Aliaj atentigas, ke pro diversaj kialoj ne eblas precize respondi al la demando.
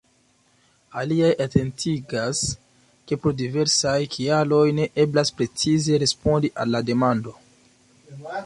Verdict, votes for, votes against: accepted, 2, 0